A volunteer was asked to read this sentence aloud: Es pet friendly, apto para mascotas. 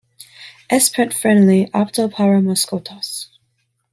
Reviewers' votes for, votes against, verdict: 2, 0, accepted